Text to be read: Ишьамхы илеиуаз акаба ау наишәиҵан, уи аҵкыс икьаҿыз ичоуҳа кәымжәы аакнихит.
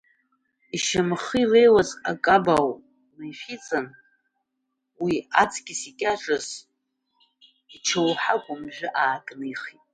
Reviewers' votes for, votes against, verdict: 2, 0, accepted